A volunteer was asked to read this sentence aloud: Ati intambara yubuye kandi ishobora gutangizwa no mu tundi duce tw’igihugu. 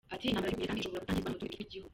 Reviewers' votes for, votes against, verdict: 0, 2, rejected